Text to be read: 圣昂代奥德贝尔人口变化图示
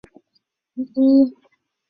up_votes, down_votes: 1, 7